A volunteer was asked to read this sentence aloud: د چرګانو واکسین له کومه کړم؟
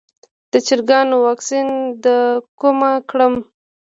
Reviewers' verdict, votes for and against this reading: accepted, 2, 0